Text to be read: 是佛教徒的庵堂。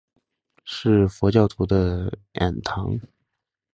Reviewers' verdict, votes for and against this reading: rejected, 0, 3